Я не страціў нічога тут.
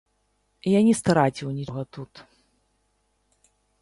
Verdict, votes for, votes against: rejected, 0, 2